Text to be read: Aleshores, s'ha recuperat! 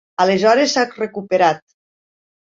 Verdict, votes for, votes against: rejected, 0, 2